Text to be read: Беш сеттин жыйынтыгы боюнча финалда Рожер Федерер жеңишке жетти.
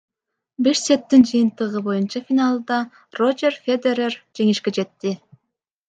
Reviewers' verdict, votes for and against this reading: rejected, 1, 2